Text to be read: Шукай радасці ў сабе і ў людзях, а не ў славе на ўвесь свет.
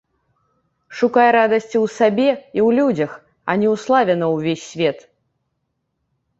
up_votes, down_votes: 2, 0